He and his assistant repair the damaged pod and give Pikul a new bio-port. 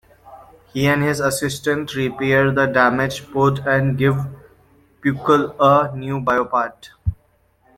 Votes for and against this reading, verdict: 2, 1, accepted